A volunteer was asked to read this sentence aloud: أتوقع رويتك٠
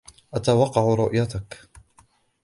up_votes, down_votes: 0, 2